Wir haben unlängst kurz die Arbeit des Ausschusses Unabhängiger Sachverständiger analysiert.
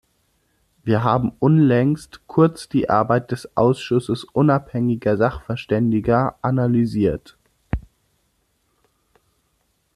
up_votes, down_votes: 2, 0